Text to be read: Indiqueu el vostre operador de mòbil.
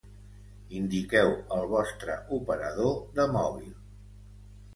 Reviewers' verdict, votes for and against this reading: accepted, 2, 0